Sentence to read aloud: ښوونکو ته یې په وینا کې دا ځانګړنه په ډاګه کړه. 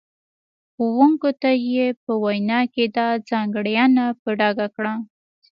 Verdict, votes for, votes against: accepted, 2, 0